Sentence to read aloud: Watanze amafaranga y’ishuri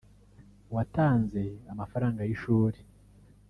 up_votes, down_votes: 2, 0